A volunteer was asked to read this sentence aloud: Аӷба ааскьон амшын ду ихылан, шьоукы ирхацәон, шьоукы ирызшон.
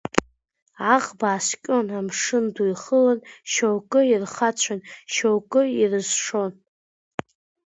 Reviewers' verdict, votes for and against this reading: accepted, 2, 0